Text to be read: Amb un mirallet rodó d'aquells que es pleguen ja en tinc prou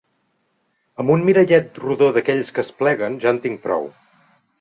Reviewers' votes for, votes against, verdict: 3, 0, accepted